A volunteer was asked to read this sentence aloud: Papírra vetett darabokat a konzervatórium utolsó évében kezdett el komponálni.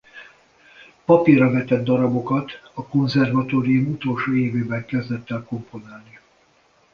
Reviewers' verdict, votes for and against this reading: accepted, 2, 0